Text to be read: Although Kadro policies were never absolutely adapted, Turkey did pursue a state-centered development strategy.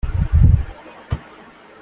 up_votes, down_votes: 0, 2